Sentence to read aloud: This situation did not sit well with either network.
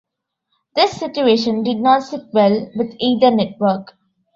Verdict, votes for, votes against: accepted, 2, 0